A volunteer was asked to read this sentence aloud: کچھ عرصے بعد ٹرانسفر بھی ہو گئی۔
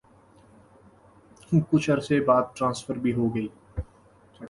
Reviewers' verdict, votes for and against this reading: accepted, 7, 0